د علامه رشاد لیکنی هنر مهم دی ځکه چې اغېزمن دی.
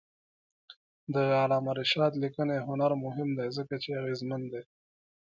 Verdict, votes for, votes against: rejected, 0, 2